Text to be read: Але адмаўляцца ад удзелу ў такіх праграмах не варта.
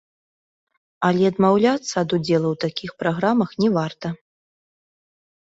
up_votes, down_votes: 2, 0